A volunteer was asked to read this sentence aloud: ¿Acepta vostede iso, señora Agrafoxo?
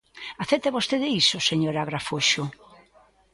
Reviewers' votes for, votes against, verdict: 2, 0, accepted